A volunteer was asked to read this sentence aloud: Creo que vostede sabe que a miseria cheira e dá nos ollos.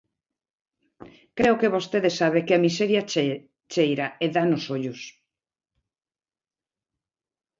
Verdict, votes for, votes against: rejected, 0, 2